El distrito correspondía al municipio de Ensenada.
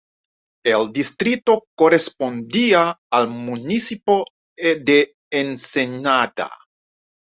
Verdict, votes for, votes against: rejected, 1, 2